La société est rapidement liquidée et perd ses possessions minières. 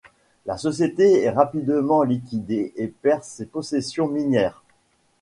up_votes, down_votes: 2, 0